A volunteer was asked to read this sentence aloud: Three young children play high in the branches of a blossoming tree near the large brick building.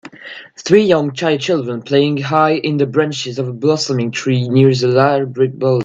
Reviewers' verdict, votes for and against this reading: rejected, 0, 2